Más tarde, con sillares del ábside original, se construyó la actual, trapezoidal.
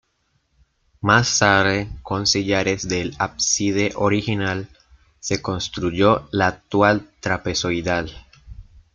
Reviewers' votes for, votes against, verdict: 0, 2, rejected